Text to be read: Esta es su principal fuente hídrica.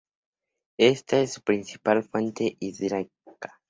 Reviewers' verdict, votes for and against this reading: rejected, 0, 2